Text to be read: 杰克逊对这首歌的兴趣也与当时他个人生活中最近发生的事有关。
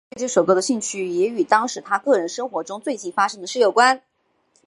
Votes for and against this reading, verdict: 2, 3, rejected